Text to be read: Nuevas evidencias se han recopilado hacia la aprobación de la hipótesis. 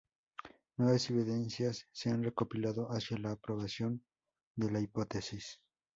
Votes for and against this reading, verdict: 4, 2, accepted